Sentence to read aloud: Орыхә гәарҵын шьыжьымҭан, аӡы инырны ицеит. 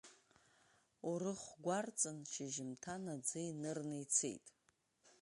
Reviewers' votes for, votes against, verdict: 0, 2, rejected